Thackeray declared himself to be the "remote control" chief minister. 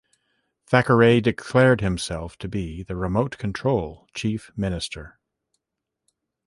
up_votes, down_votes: 2, 0